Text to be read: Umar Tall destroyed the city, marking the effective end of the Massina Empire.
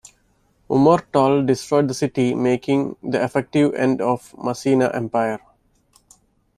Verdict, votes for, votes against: rejected, 0, 2